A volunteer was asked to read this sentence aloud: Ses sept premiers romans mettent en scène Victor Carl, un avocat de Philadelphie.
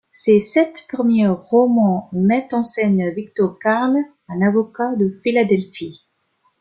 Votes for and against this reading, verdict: 1, 2, rejected